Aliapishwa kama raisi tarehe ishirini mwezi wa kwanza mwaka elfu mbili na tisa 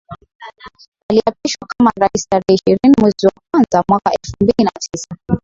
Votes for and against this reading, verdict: 0, 2, rejected